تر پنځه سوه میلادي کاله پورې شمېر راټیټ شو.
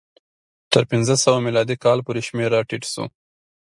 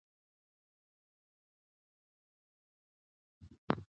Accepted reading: first